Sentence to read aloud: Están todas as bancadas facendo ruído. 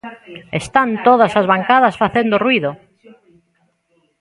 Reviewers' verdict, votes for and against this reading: accepted, 2, 0